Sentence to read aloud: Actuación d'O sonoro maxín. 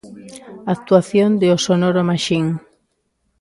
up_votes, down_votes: 1, 2